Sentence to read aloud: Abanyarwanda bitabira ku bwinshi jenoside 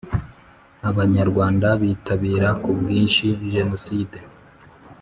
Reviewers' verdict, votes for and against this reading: accepted, 2, 0